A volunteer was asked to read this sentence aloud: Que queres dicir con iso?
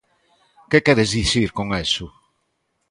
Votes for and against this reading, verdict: 0, 2, rejected